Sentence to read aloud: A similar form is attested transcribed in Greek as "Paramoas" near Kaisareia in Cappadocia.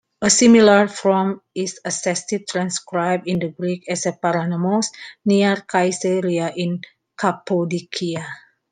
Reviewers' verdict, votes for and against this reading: rejected, 0, 2